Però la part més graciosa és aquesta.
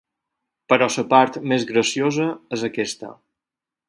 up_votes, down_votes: 4, 2